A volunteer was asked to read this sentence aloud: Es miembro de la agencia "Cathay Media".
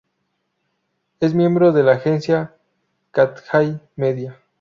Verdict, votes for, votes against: rejected, 0, 2